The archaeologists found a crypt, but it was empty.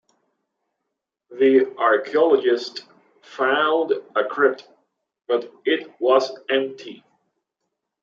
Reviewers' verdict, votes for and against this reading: accepted, 2, 0